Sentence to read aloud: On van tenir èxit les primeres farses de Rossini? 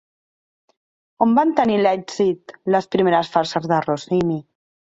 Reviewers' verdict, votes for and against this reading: rejected, 0, 2